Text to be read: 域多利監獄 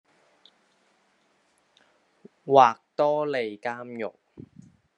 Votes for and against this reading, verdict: 0, 3, rejected